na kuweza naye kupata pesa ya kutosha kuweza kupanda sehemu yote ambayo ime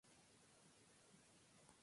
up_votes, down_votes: 0, 6